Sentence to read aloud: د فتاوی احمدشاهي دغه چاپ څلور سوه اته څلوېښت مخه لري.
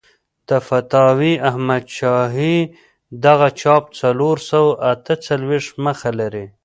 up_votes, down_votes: 2, 0